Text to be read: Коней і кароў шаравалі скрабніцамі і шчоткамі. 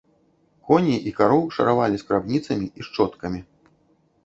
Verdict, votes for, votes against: accepted, 2, 0